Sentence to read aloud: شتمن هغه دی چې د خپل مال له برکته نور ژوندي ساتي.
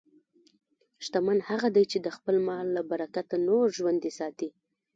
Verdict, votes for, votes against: rejected, 1, 2